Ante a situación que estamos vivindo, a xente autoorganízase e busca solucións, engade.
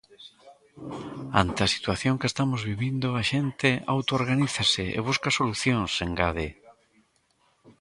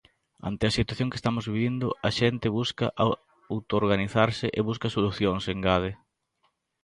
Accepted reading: first